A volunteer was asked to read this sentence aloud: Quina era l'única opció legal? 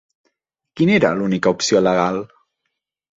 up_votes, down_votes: 3, 0